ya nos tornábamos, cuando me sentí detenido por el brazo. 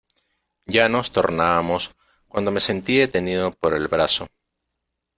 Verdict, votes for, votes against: accepted, 2, 0